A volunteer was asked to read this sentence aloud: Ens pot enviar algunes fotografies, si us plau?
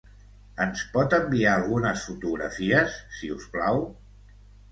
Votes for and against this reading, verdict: 2, 0, accepted